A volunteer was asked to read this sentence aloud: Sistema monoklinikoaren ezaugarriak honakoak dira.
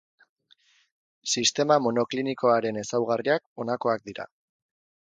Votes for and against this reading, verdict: 4, 0, accepted